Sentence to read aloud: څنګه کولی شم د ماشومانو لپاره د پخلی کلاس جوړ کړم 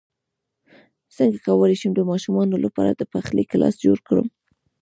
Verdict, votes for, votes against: rejected, 1, 2